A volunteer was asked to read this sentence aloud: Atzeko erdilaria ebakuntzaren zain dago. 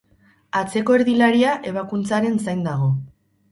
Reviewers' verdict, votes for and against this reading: rejected, 2, 2